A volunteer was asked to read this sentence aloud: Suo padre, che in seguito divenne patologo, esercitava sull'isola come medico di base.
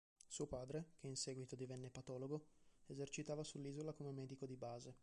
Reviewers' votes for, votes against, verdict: 2, 0, accepted